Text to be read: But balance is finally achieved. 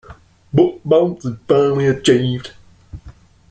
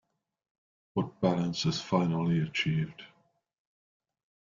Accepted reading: second